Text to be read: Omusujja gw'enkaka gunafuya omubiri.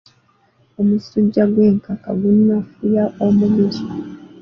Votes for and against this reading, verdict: 1, 2, rejected